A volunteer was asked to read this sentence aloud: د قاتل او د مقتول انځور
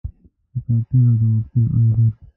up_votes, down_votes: 1, 2